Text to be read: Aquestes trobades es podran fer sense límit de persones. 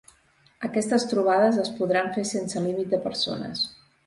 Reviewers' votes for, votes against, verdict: 3, 0, accepted